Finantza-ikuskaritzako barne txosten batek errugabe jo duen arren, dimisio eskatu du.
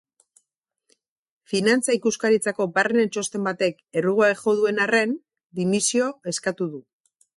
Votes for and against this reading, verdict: 2, 0, accepted